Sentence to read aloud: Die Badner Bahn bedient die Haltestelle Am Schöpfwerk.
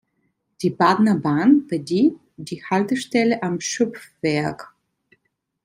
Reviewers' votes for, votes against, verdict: 2, 0, accepted